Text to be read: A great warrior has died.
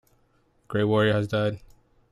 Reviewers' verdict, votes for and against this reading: accepted, 2, 1